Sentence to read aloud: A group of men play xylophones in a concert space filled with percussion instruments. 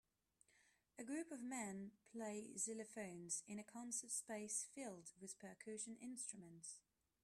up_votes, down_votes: 2, 0